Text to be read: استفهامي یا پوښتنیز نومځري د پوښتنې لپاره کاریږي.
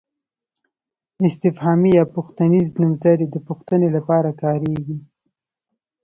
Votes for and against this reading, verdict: 2, 0, accepted